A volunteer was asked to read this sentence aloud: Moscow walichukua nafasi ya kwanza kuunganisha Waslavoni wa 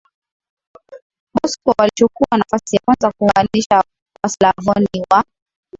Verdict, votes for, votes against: rejected, 0, 2